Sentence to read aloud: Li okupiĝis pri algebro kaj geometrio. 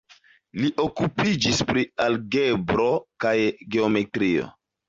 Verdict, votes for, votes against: accepted, 2, 1